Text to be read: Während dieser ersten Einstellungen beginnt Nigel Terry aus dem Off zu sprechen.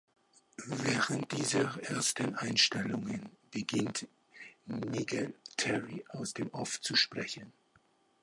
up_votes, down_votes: 1, 2